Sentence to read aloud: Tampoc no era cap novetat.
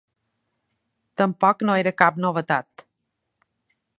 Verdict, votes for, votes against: accepted, 3, 0